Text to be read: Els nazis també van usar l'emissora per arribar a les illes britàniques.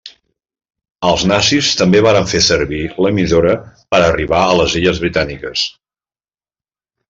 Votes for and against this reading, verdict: 0, 2, rejected